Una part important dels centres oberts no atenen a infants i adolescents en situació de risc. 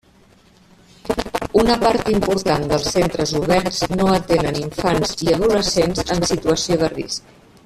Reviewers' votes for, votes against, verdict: 0, 2, rejected